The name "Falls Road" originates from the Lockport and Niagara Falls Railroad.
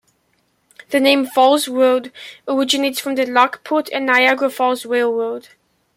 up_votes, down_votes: 2, 1